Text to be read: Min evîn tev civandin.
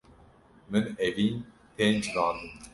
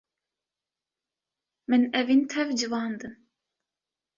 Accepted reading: second